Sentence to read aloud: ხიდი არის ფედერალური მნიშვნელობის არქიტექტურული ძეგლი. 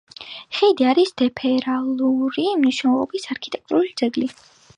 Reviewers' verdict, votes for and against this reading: accepted, 3, 1